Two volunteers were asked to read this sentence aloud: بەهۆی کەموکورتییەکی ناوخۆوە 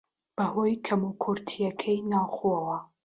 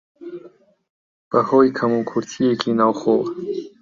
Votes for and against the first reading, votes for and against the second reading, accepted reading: 1, 2, 3, 2, second